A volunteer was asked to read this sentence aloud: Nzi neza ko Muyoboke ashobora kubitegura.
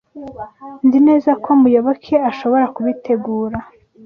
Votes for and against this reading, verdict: 2, 0, accepted